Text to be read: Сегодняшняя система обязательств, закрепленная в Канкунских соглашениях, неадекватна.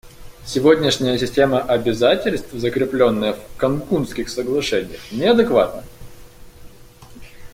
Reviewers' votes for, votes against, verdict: 2, 0, accepted